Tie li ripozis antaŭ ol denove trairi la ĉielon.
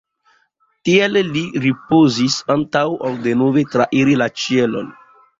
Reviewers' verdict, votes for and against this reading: accepted, 3, 1